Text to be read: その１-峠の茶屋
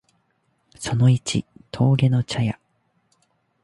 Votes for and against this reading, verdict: 0, 2, rejected